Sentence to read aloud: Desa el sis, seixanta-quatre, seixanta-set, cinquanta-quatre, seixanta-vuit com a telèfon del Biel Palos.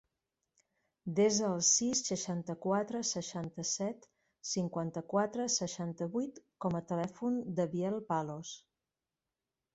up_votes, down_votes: 0, 4